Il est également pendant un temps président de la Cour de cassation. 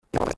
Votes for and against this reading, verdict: 1, 2, rejected